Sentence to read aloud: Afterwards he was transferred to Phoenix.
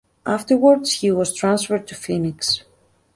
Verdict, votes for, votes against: rejected, 1, 2